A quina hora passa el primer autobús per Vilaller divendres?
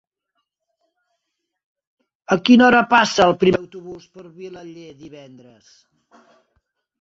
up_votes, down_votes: 1, 2